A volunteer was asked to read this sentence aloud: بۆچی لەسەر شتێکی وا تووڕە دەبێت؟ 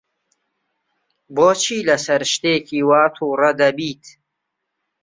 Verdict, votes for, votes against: rejected, 0, 2